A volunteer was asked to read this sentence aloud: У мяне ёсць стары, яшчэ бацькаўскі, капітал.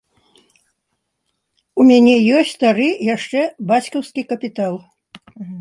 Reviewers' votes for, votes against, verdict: 2, 1, accepted